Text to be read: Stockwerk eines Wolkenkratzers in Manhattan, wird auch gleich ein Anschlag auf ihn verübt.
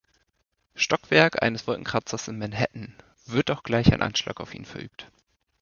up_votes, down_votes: 2, 0